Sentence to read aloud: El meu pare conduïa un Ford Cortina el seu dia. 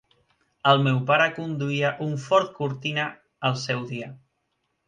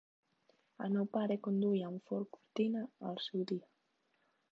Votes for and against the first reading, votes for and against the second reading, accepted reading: 4, 0, 1, 2, first